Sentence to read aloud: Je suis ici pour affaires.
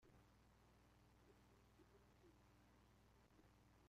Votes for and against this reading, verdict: 0, 2, rejected